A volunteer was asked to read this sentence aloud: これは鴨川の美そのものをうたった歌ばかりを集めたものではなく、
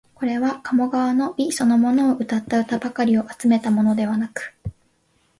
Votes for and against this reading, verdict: 2, 0, accepted